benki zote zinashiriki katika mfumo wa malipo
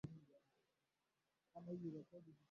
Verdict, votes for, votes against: rejected, 0, 2